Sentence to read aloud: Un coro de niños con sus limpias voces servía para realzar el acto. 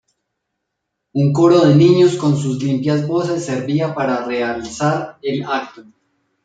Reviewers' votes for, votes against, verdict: 1, 2, rejected